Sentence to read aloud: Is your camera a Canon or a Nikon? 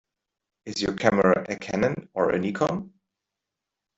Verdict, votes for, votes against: rejected, 0, 2